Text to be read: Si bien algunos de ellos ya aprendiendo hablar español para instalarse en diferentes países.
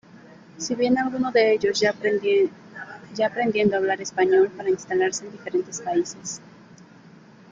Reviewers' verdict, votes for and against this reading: rejected, 1, 2